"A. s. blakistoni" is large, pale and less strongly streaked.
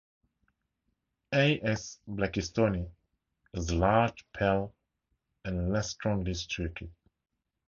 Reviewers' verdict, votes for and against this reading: accepted, 2, 0